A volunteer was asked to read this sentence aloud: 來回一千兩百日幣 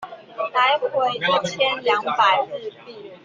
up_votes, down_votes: 1, 2